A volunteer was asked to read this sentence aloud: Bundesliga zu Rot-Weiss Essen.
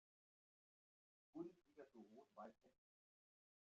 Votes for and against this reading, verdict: 0, 2, rejected